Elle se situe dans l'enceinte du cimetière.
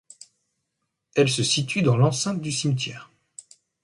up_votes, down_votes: 2, 0